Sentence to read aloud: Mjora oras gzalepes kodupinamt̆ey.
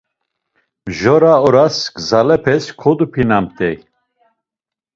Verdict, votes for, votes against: accepted, 2, 0